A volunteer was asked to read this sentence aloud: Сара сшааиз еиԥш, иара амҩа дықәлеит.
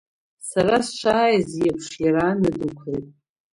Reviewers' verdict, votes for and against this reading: rejected, 1, 2